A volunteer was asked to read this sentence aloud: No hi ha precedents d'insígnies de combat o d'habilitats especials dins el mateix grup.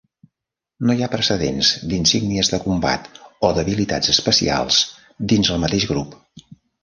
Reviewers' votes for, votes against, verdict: 3, 1, accepted